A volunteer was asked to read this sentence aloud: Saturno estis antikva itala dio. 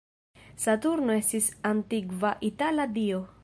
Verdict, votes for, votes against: rejected, 1, 2